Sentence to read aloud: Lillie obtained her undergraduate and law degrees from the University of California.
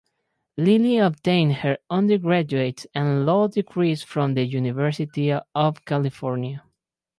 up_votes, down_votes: 2, 2